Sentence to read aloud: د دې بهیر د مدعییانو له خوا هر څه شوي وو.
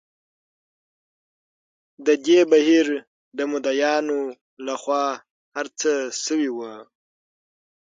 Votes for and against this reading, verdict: 6, 0, accepted